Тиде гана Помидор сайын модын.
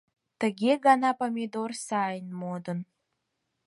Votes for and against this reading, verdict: 2, 4, rejected